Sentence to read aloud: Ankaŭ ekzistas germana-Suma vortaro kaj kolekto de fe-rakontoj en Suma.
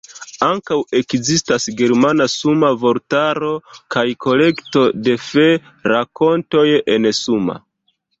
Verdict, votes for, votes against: rejected, 0, 2